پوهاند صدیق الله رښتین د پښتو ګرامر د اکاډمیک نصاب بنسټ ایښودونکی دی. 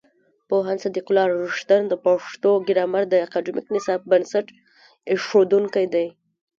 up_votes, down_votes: 2, 1